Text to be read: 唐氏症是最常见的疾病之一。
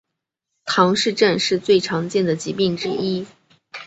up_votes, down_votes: 2, 0